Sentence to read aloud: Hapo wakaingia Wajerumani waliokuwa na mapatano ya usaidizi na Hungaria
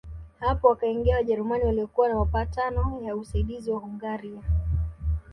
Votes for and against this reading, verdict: 1, 2, rejected